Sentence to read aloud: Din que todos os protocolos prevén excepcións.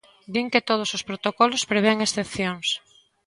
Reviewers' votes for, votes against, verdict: 2, 0, accepted